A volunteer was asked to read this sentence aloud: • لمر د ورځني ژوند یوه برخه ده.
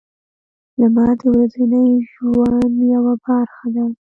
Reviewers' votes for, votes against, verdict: 2, 0, accepted